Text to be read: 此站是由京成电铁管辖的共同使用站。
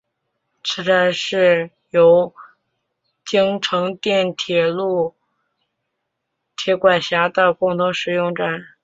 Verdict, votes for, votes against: rejected, 1, 2